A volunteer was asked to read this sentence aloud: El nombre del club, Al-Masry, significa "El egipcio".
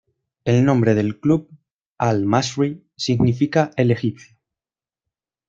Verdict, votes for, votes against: accepted, 2, 0